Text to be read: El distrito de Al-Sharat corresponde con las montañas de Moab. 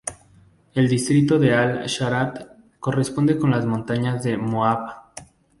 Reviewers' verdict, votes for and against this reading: accepted, 2, 0